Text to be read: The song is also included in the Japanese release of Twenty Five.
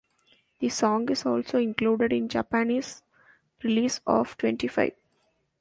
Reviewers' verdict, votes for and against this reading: rejected, 0, 2